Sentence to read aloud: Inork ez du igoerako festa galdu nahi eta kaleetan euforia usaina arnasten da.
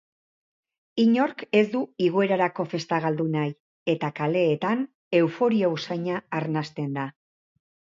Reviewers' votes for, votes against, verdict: 0, 2, rejected